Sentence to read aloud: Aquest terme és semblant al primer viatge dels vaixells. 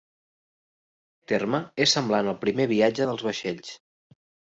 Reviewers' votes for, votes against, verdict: 0, 2, rejected